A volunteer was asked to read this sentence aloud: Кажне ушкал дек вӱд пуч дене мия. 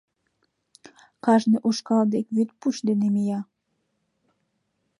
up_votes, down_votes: 2, 0